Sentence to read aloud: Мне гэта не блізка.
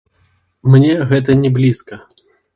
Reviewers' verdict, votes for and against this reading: rejected, 0, 2